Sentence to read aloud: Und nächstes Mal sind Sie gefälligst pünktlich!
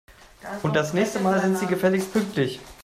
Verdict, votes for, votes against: rejected, 0, 2